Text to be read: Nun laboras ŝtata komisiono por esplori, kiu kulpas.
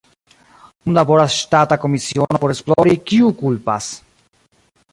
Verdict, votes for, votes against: rejected, 0, 2